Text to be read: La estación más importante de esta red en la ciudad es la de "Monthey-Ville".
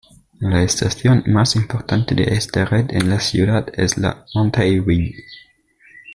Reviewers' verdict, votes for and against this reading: rejected, 0, 2